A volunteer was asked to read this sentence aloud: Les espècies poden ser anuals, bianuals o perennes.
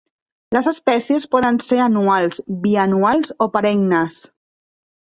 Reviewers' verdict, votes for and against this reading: accepted, 2, 0